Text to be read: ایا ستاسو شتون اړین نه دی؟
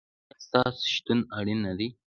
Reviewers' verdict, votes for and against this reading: accepted, 2, 0